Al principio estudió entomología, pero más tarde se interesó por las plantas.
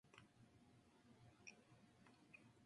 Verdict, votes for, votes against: rejected, 0, 2